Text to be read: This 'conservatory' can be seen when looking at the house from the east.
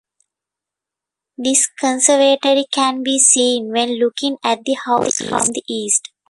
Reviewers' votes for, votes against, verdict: 1, 2, rejected